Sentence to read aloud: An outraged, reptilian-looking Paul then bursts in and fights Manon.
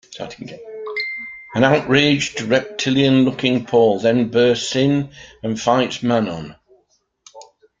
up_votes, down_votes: 1, 2